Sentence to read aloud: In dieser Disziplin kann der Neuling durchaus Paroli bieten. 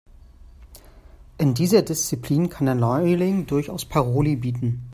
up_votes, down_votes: 2, 1